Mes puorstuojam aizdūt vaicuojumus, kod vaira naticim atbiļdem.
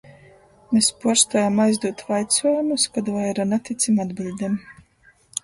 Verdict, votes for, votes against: accepted, 2, 1